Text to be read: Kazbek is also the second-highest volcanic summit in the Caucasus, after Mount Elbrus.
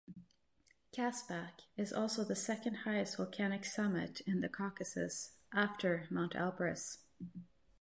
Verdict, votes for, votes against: accepted, 3, 0